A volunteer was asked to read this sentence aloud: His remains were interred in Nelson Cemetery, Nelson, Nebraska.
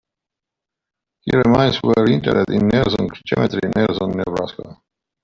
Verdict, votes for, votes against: rejected, 0, 2